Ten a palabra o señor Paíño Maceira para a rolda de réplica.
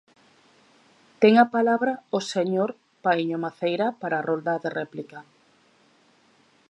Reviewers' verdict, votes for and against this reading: accepted, 3, 0